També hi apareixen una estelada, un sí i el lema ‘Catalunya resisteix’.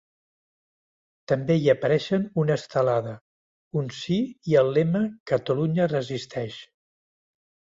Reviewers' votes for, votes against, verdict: 3, 0, accepted